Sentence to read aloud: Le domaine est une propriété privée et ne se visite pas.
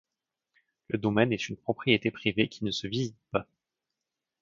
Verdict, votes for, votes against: rejected, 0, 2